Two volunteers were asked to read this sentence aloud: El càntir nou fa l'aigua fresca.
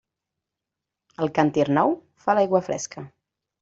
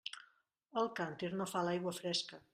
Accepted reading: first